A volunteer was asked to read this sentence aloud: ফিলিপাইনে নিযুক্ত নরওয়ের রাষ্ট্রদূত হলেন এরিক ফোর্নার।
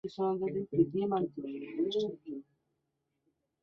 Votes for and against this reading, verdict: 0, 3, rejected